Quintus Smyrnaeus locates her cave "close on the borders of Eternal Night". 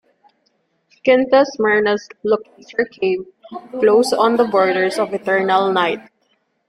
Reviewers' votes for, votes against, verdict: 1, 2, rejected